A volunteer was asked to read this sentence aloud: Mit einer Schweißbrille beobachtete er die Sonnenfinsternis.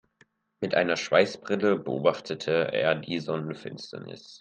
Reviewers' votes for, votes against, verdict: 2, 1, accepted